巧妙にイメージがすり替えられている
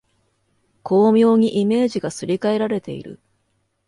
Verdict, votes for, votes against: accepted, 2, 0